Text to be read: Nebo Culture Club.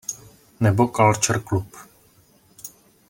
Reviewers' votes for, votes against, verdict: 3, 2, accepted